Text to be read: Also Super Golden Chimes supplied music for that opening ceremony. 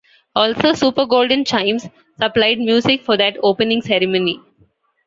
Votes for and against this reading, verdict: 2, 0, accepted